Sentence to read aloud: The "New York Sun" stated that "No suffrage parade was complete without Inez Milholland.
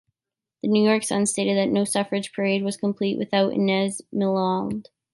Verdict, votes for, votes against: accepted, 2, 1